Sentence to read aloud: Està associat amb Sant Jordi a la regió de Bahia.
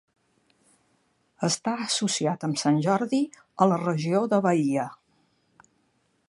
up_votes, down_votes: 4, 0